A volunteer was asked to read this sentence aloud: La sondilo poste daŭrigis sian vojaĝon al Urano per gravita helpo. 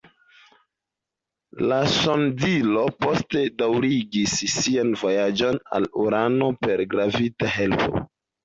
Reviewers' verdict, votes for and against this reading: rejected, 0, 2